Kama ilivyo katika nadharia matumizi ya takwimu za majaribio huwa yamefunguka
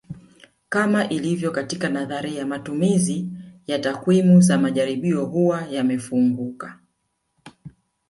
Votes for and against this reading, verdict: 1, 2, rejected